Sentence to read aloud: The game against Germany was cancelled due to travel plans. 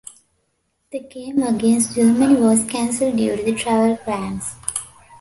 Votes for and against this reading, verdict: 2, 2, rejected